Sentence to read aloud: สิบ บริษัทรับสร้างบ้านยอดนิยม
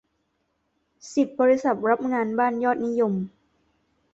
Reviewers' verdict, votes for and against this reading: rejected, 0, 2